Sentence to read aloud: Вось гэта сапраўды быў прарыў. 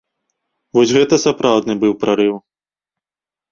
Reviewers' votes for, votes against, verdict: 0, 2, rejected